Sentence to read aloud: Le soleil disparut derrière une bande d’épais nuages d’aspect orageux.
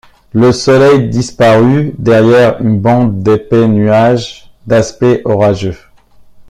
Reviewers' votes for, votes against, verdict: 2, 0, accepted